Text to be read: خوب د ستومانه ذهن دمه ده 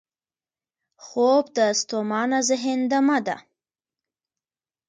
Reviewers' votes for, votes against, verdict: 2, 0, accepted